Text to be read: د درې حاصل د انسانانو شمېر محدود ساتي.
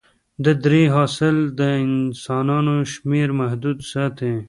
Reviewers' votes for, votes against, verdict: 2, 0, accepted